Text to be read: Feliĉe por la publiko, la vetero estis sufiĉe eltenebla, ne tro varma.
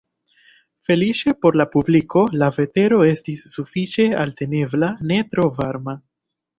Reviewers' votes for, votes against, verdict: 1, 2, rejected